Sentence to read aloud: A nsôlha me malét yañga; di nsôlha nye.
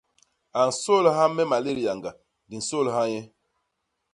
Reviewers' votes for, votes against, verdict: 2, 0, accepted